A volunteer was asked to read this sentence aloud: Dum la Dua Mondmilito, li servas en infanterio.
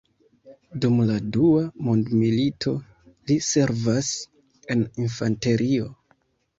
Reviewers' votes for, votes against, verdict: 2, 0, accepted